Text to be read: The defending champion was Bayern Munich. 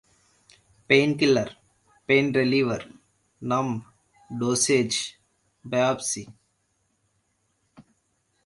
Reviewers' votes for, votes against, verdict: 0, 2, rejected